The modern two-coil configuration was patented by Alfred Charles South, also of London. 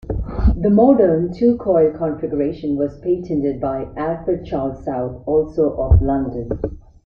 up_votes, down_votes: 1, 2